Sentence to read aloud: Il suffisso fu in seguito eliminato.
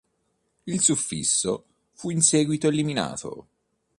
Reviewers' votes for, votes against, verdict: 2, 0, accepted